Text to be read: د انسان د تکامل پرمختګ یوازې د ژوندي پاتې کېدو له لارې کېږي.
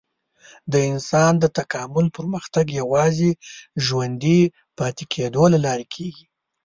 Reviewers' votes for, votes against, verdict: 1, 2, rejected